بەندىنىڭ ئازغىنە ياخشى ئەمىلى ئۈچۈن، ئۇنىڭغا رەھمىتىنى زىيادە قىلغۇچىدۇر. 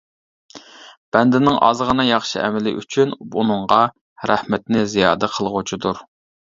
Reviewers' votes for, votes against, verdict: 0, 2, rejected